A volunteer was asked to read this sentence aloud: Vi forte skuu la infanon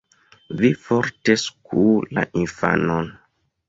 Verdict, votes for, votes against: rejected, 1, 2